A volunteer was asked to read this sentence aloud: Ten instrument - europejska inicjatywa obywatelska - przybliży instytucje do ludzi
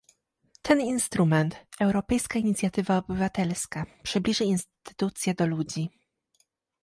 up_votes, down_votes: 2, 0